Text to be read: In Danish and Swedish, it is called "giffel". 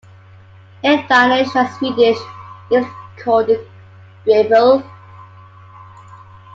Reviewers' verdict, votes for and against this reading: rejected, 0, 2